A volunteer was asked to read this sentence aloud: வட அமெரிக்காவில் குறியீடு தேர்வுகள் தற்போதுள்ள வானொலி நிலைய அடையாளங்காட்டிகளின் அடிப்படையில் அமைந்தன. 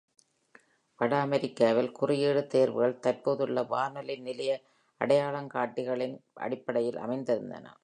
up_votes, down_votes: 1, 2